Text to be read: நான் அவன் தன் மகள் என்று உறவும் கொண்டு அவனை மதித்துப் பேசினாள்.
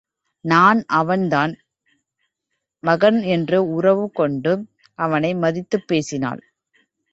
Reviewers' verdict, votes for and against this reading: rejected, 1, 2